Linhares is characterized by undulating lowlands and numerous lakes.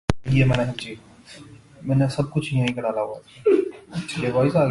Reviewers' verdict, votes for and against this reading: rejected, 0, 2